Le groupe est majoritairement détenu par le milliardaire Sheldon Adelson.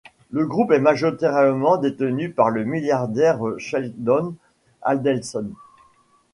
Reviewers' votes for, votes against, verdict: 1, 2, rejected